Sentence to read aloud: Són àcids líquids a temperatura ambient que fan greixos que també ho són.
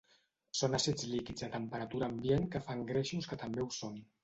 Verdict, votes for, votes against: accepted, 2, 0